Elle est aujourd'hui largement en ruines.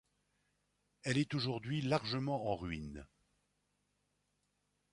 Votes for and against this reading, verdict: 2, 0, accepted